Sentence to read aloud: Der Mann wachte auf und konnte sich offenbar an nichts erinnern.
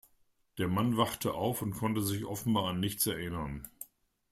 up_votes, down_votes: 2, 0